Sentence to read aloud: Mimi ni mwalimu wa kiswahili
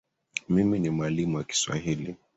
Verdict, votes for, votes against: accepted, 3, 2